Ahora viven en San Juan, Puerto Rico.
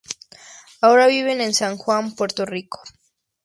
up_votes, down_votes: 2, 0